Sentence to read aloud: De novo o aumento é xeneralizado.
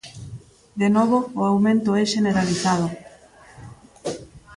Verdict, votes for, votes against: accepted, 2, 0